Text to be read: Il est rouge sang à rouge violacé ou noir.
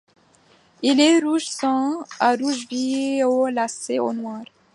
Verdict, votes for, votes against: accepted, 2, 1